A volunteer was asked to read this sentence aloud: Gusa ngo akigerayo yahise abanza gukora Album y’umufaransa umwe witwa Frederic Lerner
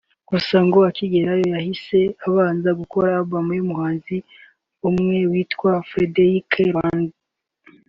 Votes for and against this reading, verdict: 2, 1, accepted